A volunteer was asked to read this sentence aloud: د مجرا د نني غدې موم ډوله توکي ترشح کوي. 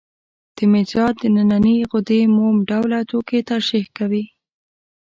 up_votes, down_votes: 1, 2